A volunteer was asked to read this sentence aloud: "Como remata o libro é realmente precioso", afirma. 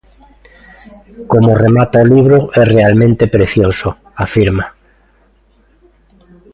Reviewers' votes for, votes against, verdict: 2, 0, accepted